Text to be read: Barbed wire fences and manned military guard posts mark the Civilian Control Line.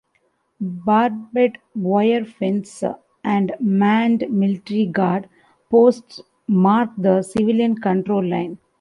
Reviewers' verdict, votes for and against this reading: rejected, 0, 2